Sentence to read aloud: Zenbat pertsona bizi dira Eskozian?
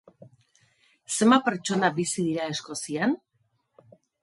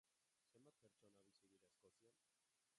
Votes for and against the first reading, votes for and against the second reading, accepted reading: 2, 0, 0, 2, first